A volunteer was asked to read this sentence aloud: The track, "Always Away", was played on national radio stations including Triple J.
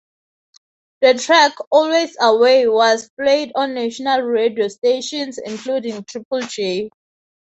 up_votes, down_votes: 3, 0